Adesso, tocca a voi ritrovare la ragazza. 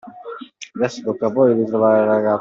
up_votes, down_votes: 0, 2